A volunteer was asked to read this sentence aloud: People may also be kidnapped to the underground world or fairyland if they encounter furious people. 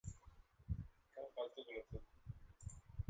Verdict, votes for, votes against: rejected, 0, 2